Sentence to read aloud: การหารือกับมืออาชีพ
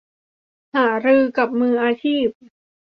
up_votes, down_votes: 0, 2